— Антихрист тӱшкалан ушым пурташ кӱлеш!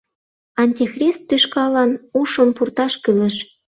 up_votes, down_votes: 2, 0